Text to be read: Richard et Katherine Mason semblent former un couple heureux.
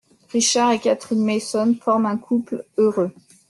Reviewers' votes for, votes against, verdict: 0, 2, rejected